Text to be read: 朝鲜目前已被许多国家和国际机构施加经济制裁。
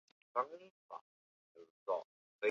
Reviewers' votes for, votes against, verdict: 0, 3, rejected